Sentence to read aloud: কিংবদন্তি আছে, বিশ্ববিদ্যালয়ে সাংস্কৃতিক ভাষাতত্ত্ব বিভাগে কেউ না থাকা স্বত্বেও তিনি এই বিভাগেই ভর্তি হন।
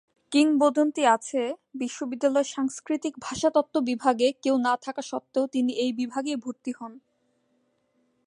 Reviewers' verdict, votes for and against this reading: accepted, 2, 0